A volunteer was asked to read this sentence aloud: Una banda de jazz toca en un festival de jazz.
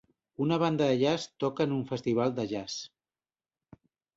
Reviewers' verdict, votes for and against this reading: accepted, 2, 0